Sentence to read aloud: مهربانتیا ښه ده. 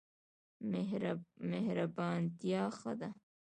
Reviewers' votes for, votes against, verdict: 2, 0, accepted